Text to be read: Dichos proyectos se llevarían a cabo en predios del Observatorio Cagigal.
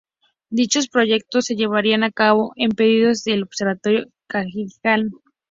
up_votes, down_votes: 0, 4